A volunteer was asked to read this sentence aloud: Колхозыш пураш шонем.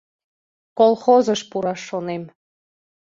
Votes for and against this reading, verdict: 2, 0, accepted